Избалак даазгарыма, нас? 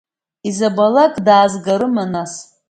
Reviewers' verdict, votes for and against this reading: rejected, 0, 2